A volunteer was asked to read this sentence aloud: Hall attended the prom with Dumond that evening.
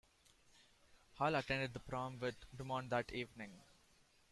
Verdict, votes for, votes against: rejected, 1, 2